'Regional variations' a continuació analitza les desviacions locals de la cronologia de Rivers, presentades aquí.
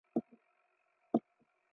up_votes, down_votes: 0, 2